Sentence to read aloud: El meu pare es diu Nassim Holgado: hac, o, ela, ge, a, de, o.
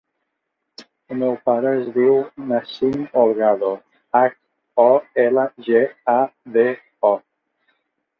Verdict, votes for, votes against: accepted, 2, 0